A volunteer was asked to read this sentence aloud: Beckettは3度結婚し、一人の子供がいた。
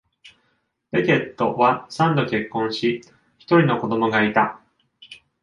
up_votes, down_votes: 0, 2